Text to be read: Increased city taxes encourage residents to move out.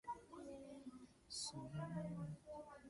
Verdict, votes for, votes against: rejected, 1, 2